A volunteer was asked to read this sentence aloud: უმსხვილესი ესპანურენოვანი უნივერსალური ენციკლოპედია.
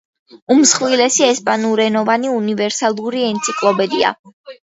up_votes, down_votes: 1, 2